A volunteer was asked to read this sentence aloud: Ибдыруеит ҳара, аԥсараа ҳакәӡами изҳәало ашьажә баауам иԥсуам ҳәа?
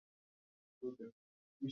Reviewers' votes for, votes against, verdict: 0, 2, rejected